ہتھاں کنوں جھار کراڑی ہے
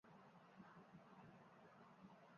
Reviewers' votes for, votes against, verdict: 0, 2, rejected